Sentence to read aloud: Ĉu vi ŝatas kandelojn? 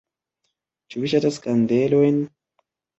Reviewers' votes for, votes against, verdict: 2, 1, accepted